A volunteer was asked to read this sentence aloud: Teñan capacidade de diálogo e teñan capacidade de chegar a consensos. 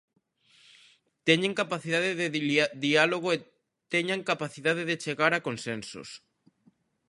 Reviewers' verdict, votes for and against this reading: rejected, 0, 2